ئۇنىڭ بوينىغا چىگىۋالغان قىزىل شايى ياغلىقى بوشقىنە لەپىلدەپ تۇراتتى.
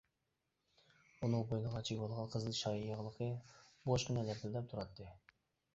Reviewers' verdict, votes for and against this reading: rejected, 0, 2